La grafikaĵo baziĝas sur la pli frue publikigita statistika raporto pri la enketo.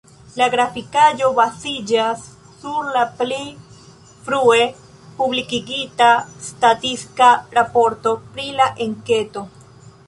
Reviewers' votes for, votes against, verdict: 0, 2, rejected